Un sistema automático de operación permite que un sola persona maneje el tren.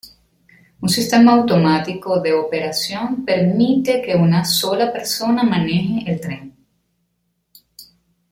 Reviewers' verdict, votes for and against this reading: rejected, 1, 2